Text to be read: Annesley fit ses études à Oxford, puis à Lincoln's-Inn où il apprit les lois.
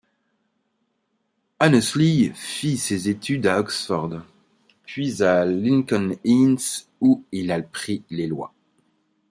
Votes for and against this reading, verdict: 1, 3, rejected